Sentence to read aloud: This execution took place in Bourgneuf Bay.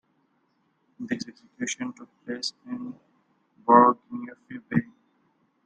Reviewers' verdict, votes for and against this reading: rejected, 0, 2